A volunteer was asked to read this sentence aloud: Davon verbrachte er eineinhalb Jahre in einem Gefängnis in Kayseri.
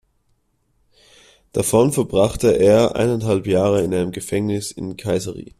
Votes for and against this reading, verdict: 2, 0, accepted